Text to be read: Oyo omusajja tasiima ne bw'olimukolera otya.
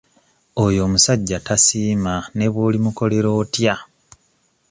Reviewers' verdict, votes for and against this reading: accepted, 2, 0